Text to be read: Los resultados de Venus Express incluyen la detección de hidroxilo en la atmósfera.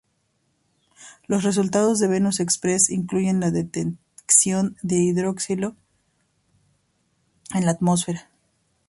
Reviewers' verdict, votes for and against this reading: rejected, 0, 2